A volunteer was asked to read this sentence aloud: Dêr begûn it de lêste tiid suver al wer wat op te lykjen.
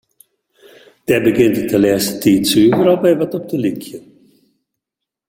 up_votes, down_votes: 0, 2